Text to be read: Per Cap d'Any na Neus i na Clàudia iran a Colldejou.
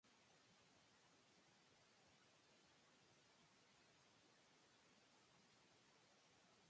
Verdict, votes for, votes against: rejected, 0, 2